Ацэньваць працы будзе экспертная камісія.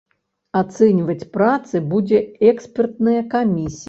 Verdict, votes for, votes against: rejected, 3, 4